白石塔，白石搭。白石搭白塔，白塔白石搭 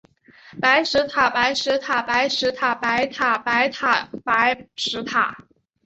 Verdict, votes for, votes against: rejected, 1, 2